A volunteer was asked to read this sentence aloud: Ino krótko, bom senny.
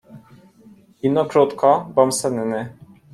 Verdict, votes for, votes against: accepted, 2, 0